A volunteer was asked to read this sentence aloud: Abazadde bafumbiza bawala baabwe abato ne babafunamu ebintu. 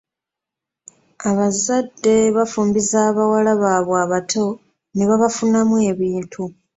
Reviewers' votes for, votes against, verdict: 2, 1, accepted